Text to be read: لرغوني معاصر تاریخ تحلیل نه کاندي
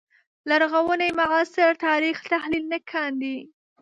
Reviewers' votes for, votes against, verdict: 0, 2, rejected